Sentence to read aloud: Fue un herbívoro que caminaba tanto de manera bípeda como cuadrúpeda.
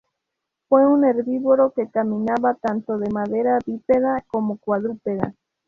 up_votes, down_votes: 0, 2